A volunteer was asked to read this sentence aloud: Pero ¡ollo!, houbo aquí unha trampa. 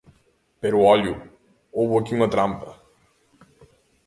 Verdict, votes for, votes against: accepted, 2, 0